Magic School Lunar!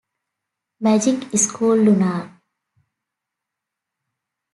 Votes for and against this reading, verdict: 2, 0, accepted